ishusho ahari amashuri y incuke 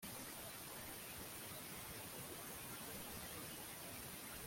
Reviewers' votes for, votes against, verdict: 0, 2, rejected